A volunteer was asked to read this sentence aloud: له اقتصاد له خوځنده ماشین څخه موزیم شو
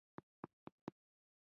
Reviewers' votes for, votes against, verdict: 2, 0, accepted